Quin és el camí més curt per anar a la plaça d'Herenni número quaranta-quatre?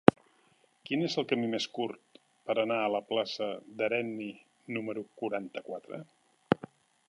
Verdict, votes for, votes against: accepted, 4, 1